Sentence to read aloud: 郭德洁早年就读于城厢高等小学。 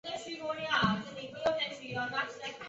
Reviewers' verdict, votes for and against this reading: rejected, 1, 3